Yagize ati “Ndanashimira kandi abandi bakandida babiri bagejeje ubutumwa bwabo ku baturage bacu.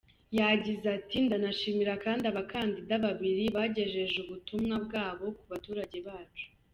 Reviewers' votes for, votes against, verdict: 0, 2, rejected